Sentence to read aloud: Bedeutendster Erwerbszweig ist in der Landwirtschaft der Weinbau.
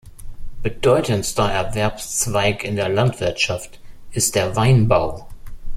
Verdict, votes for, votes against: rejected, 0, 2